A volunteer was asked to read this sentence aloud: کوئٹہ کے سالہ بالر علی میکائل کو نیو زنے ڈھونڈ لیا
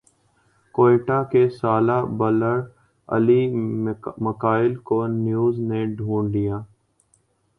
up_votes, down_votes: 0, 2